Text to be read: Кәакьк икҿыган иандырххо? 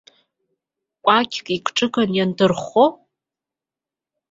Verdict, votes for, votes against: accepted, 2, 1